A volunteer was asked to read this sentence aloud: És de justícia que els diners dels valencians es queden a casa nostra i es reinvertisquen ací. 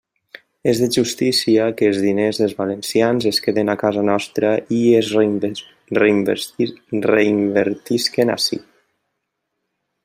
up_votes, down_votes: 0, 2